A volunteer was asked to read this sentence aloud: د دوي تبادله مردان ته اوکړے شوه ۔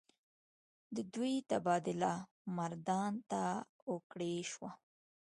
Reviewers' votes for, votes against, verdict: 3, 1, accepted